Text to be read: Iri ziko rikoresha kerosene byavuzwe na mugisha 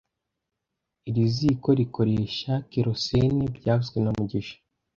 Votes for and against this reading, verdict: 2, 0, accepted